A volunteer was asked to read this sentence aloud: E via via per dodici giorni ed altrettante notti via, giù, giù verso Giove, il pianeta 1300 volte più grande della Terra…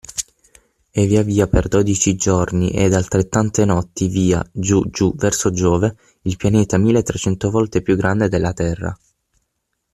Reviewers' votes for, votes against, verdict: 0, 2, rejected